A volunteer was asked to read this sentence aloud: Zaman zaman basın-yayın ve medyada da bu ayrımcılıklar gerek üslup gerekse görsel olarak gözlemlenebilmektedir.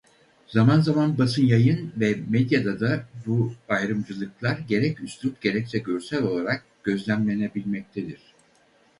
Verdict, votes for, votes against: rejected, 2, 2